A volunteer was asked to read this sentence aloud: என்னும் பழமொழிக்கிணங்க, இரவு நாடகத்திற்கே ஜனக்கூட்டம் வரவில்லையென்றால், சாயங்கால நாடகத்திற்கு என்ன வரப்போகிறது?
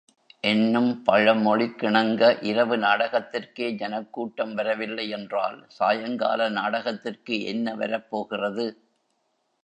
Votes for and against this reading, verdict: 2, 0, accepted